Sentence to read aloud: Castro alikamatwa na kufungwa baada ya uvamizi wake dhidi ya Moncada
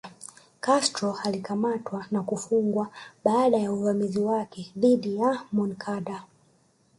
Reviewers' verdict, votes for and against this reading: rejected, 0, 2